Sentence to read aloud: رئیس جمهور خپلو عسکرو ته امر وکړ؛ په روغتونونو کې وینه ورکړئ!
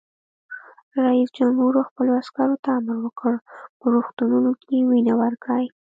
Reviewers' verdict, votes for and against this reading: rejected, 0, 2